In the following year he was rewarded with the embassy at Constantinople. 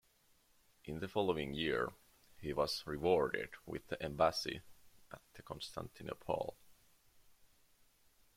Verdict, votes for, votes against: accepted, 2, 1